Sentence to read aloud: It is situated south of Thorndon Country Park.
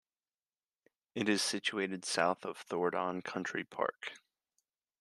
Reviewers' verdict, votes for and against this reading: rejected, 1, 2